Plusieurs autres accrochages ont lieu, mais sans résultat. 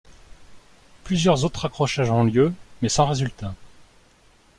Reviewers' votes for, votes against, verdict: 2, 0, accepted